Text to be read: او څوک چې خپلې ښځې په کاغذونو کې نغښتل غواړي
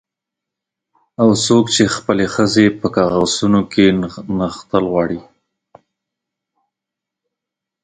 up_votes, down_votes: 2, 0